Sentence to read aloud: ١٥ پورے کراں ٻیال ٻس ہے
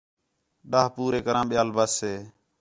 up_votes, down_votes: 0, 2